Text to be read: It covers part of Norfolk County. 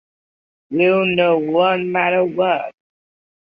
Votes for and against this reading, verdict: 0, 2, rejected